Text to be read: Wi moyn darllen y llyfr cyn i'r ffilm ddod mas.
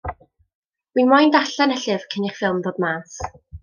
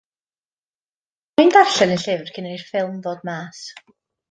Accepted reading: first